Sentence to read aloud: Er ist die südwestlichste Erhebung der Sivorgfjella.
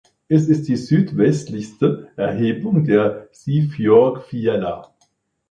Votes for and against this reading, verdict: 0, 2, rejected